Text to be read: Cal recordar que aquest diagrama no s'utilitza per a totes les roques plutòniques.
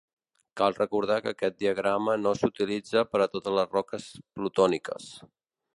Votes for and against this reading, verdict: 2, 0, accepted